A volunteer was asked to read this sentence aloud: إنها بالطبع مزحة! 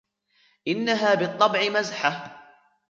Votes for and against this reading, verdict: 2, 1, accepted